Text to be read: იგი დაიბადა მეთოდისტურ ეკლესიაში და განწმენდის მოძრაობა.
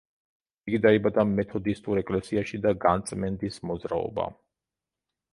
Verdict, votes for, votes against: rejected, 1, 2